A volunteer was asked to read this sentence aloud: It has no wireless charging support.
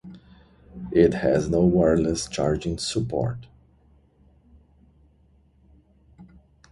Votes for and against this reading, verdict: 0, 2, rejected